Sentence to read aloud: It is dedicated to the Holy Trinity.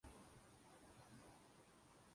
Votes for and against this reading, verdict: 0, 2, rejected